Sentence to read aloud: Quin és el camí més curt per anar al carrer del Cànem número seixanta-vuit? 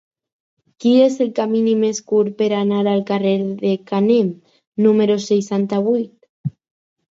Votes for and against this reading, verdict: 0, 4, rejected